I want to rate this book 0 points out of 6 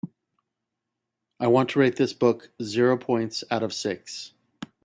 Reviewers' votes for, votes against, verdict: 0, 2, rejected